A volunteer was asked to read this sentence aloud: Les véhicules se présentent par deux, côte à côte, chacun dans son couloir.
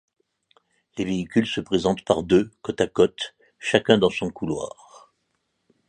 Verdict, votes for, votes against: accepted, 2, 0